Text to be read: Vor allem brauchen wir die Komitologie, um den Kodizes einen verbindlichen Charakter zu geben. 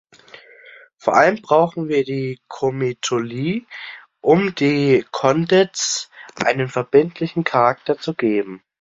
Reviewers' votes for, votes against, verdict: 0, 2, rejected